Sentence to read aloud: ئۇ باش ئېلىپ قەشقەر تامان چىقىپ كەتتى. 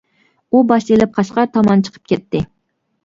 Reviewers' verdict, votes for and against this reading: rejected, 0, 2